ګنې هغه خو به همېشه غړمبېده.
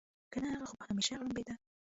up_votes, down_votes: 0, 2